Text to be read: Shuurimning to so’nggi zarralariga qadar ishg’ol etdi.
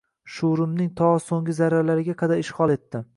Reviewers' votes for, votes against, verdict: 2, 0, accepted